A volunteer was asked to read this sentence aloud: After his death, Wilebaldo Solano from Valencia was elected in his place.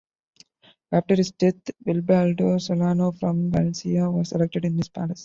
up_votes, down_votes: 0, 2